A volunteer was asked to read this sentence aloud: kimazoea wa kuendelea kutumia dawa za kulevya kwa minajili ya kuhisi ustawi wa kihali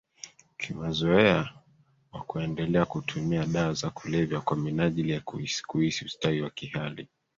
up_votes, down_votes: 1, 2